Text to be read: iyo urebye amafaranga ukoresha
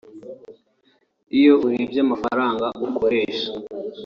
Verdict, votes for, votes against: accepted, 2, 0